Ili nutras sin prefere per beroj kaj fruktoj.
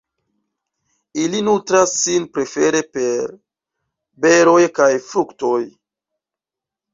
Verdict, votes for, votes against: rejected, 1, 2